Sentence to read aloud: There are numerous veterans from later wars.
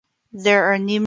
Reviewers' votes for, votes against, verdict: 0, 2, rejected